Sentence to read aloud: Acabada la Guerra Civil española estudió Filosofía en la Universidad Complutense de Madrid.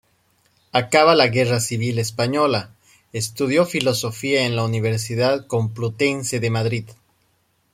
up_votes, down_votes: 1, 3